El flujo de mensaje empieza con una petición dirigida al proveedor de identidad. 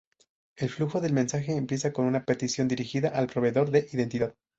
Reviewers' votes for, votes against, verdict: 0, 2, rejected